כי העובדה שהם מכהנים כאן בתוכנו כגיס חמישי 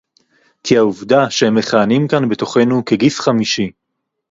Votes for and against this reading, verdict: 2, 2, rejected